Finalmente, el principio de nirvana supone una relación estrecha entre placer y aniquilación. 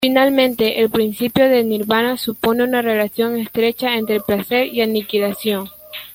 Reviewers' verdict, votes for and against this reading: accepted, 2, 0